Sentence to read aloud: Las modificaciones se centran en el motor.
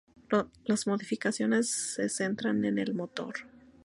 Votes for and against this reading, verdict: 2, 2, rejected